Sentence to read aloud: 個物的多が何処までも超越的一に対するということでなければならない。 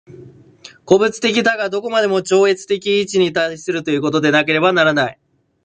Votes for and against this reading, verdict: 2, 0, accepted